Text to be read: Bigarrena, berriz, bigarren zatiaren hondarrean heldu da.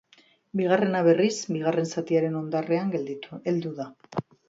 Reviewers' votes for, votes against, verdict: 0, 3, rejected